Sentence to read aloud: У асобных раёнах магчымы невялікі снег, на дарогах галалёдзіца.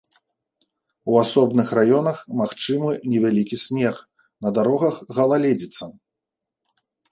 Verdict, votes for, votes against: rejected, 0, 2